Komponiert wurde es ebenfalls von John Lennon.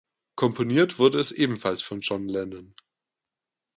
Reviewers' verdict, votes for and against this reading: accepted, 2, 0